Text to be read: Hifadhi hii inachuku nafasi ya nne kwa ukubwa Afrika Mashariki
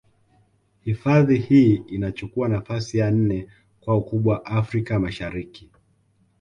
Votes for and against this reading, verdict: 2, 0, accepted